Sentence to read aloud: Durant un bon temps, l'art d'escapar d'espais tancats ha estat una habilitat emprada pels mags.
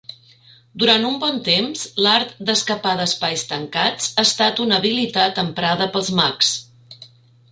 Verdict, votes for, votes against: accepted, 3, 0